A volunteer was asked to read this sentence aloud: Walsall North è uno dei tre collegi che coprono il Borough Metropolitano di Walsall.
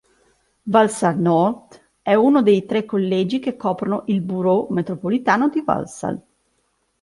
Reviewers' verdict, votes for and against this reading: accepted, 3, 0